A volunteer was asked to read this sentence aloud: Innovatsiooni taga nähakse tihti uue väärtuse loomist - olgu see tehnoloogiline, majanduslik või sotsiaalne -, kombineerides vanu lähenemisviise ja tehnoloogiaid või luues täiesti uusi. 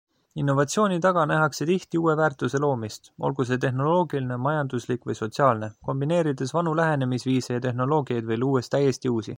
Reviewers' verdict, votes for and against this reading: accepted, 2, 0